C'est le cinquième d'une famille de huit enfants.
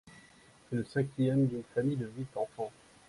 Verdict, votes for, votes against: accepted, 2, 0